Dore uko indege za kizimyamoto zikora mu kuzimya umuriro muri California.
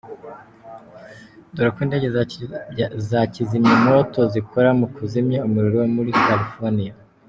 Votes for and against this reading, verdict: 0, 2, rejected